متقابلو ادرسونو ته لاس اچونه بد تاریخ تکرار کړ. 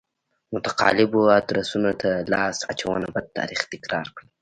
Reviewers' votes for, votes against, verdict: 0, 2, rejected